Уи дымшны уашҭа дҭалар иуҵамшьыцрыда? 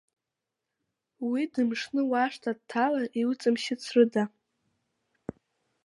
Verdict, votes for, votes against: accepted, 2, 1